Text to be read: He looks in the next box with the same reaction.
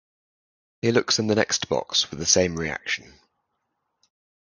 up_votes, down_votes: 2, 2